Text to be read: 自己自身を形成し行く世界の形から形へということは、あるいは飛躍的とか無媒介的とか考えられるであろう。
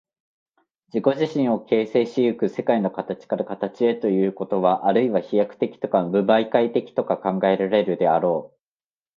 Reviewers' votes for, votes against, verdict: 2, 0, accepted